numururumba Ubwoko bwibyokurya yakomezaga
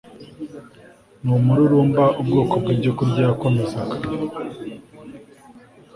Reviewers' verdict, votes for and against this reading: accepted, 2, 0